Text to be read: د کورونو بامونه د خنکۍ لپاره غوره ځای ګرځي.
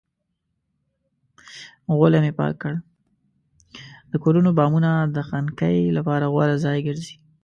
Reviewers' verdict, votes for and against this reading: rejected, 1, 2